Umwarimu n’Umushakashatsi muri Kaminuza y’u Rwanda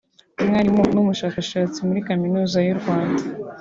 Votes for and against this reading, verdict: 3, 0, accepted